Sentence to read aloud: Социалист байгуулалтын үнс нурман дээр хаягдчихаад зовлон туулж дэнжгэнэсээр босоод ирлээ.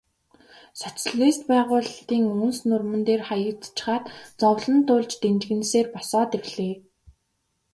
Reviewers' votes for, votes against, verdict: 2, 1, accepted